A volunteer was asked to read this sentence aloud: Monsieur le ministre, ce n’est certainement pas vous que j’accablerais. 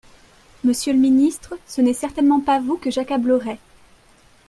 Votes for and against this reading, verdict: 2, 0, accepted